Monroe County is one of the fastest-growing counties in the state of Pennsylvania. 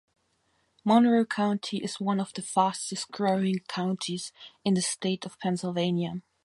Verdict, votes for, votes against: accepted, 2, 0